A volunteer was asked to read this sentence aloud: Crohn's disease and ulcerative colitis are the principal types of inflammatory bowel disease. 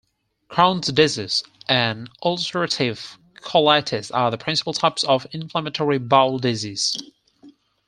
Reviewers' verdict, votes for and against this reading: rejected, 2, 4